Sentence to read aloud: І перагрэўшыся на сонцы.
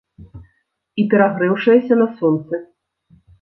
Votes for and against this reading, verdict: 0, 2, rejected